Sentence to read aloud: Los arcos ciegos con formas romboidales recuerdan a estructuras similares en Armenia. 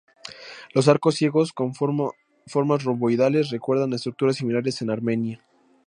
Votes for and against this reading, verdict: 2, 0, accepted